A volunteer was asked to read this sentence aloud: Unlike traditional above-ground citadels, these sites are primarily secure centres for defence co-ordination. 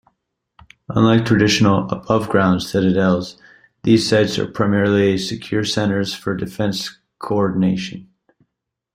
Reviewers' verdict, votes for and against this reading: accepted, 2, 0